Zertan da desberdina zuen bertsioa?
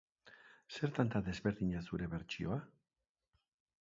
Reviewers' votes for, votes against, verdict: 2, 0, accepted